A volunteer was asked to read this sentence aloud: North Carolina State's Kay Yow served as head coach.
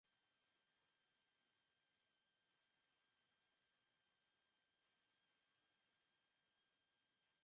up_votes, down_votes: 0, 2